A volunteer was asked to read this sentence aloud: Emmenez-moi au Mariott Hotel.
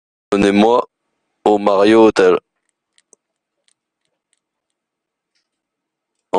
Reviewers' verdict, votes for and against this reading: rejected, 0, 2